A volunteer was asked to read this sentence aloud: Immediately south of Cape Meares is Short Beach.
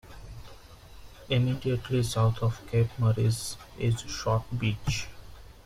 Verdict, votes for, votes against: rejected, 1, 2